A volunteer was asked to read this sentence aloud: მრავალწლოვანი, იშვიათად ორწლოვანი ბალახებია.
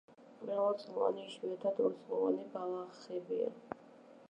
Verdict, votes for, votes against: rejected, 1, 2